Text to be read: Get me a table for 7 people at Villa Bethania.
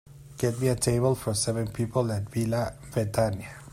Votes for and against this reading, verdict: 0, 2, rejected